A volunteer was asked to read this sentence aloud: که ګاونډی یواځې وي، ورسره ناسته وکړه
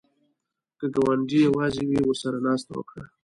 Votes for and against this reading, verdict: 2, 0, accepted